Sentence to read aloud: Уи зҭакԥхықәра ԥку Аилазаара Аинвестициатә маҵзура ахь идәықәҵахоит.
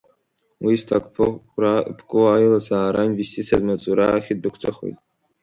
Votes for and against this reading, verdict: 1, 2, rejected